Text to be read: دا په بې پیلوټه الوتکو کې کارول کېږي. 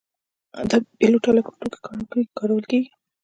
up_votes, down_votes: 2, 0